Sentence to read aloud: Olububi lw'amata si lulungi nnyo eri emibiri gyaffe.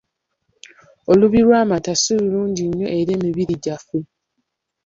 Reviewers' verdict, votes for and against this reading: rejected, 0, 2